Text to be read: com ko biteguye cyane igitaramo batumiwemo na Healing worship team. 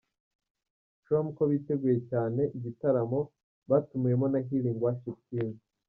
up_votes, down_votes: 1, 2